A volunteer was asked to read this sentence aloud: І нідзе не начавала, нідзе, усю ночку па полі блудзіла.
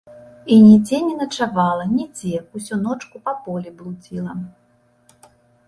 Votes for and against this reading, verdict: 3, 0, accepted